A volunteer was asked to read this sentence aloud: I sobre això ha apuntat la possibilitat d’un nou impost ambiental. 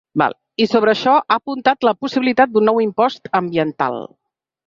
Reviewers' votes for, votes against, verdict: 0, 2, rejected